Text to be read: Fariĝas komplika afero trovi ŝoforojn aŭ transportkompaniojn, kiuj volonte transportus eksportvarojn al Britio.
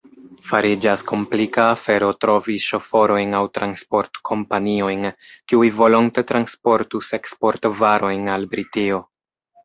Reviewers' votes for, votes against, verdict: 2, 1, accepted